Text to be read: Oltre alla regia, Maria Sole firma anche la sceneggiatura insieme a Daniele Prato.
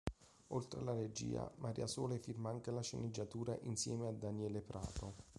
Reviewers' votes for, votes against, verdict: 2, 0, accepted